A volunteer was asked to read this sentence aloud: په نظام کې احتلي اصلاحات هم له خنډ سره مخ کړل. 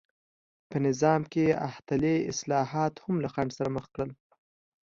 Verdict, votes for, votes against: accepted, 2, 0